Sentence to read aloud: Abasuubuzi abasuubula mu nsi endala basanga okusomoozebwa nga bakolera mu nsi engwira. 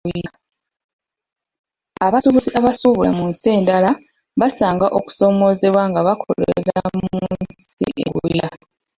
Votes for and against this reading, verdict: 0, 2, rejected